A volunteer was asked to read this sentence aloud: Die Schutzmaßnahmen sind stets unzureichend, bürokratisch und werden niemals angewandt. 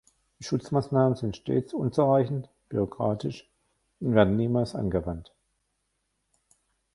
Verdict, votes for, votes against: rejected, 1, 2